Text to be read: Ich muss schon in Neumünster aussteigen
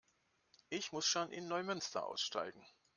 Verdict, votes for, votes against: accepted, 2, 0